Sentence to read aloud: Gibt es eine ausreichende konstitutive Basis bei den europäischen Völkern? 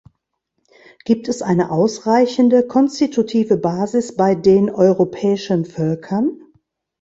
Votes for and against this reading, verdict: 2, 0, accepted